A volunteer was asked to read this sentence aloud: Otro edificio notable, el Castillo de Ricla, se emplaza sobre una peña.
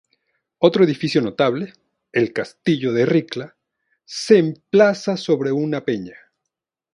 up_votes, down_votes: 2, 0